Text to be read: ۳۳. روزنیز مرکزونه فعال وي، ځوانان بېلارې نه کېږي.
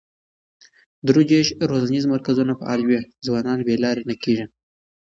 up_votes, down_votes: 0, 2